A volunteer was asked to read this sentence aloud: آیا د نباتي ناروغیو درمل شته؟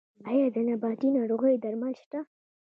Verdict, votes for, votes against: rejected, 1, 2